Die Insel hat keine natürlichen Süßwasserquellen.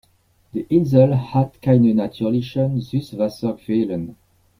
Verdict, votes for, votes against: accepted, 2, 0